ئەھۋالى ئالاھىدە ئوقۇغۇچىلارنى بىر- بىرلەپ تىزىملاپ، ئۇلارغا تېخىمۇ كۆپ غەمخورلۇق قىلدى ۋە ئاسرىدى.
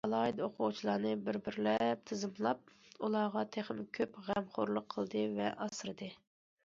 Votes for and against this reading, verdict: 0, 2, rejected